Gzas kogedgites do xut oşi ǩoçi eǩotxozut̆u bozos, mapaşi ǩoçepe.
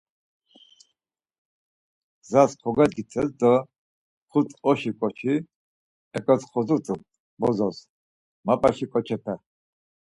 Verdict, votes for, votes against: accepted, 4, 0